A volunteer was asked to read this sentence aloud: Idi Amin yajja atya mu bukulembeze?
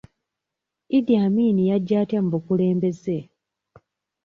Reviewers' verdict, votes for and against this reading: accepted, 2, 0